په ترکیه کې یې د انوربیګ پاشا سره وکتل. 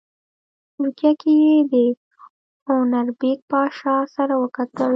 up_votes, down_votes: 1, 2